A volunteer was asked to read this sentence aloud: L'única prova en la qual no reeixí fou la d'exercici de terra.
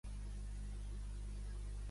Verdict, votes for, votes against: rejected, 1, 2